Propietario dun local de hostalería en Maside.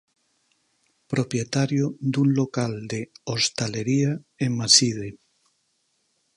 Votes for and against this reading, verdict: 6, 0, accepted